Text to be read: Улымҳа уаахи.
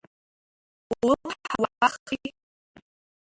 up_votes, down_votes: 0, 2